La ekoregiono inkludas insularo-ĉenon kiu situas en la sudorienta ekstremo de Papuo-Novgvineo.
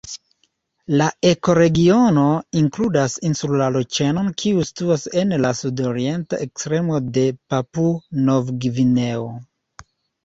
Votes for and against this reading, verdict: 1, 2, rejected